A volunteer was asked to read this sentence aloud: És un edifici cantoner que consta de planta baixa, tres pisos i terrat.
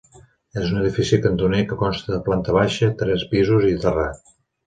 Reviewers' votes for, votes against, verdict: 2, 0, accepted